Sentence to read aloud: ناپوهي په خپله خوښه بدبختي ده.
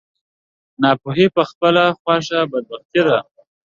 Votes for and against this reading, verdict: 2, 1, accepted